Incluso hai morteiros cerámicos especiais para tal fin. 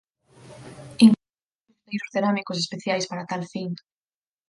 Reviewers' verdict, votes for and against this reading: rejected, 0, 4